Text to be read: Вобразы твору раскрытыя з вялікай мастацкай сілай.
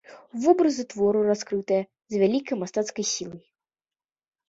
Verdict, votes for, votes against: accepted, 2, 0